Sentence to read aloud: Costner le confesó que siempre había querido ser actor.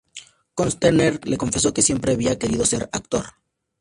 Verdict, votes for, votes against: accepted, 2, 0